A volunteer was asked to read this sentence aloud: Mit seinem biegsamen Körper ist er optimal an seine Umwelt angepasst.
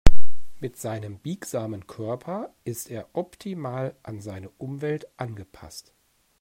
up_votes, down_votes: 2, 0